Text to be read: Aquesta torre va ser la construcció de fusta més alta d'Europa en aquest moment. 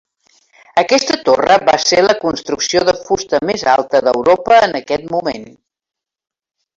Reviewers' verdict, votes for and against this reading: accepted, 3, 0